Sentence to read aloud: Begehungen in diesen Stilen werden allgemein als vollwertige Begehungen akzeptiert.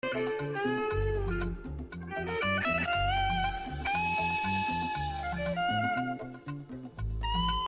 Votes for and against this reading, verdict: 0, 2, rejected